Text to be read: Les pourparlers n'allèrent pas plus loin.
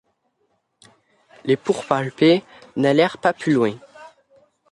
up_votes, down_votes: 0, 2